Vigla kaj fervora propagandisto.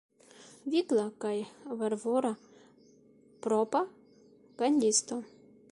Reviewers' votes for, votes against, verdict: 0, 2, rejected